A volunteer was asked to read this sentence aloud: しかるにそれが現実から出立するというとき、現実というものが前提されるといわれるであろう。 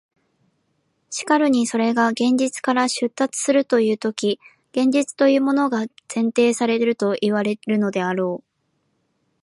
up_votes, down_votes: 0, 2